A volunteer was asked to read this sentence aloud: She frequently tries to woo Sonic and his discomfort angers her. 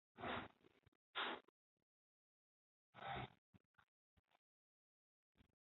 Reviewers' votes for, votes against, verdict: 0, 2, rejected